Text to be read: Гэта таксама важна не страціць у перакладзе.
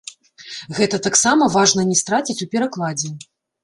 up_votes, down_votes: 0, 2